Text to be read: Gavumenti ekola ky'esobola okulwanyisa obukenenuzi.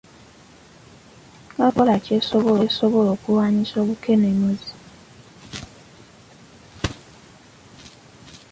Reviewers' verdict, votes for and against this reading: rejected, 0, 2